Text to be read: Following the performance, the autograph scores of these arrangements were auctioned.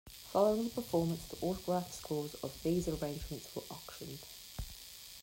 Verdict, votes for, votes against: accepted, 2, 1